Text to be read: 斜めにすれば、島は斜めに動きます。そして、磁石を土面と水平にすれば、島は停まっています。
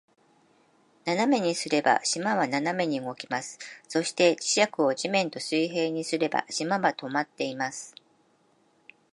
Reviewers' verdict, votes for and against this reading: accepted, 3, 1